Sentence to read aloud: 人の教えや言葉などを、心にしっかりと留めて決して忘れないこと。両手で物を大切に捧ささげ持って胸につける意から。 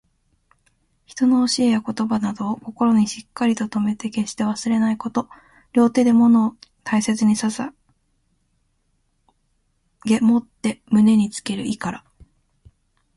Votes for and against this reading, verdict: 2, 0, accepted